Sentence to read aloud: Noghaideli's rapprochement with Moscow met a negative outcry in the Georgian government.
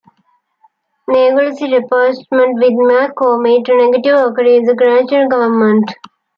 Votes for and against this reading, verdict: 1, 2, rejected